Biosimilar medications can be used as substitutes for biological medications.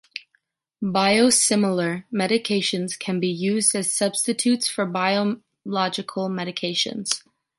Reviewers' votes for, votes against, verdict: 2, 1, accepted